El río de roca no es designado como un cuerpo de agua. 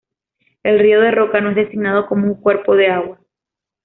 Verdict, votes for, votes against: accepted, 2, 0